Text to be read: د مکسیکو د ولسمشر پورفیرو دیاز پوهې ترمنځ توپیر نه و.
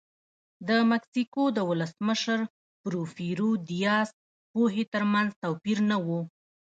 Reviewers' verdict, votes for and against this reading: rejected, 1, 2